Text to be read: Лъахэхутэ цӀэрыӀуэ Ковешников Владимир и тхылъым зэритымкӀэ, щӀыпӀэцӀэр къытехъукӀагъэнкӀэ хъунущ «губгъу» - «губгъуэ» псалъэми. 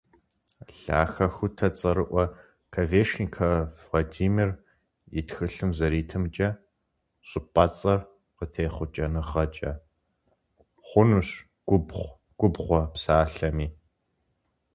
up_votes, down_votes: 2, 4